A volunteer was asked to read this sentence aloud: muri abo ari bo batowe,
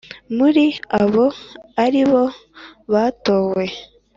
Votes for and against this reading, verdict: 3, 0, accepted